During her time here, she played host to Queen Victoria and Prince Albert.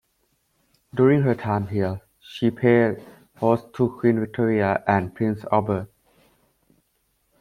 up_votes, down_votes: 2, 0